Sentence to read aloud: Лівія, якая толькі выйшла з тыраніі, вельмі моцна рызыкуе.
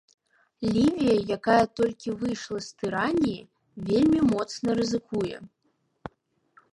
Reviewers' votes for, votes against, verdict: 1, 2, rejected